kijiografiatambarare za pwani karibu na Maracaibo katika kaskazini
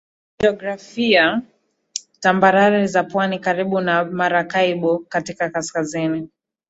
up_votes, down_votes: 1, 2